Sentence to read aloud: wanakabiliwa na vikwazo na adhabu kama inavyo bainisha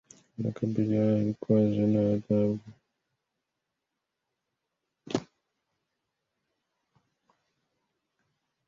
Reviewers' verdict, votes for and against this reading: rejected, 0, 3